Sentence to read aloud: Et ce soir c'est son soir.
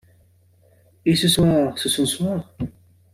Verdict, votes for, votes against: accepted, 2, 0